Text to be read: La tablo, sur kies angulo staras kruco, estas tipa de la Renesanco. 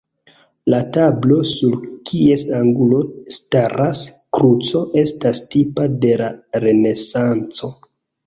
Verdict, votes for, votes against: accepted, 2, 1